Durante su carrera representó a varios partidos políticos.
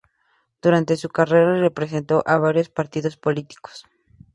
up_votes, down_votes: 2, 0